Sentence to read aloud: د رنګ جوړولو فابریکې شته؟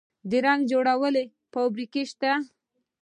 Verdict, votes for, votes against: accepted, 2, 0